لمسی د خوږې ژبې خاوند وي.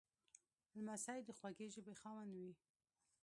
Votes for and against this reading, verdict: 0, 2, rejected